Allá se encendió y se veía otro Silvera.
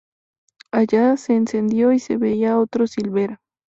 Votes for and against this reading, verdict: 2, 0, accepted